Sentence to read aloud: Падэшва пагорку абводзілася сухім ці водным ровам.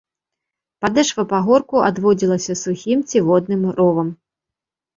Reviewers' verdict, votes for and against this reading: rejected, 1, 2